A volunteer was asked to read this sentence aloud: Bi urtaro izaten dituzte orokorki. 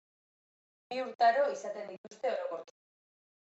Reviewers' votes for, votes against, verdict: 2, 1, accepted